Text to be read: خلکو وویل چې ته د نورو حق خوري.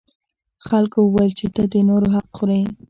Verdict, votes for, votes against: rejected, 1, 2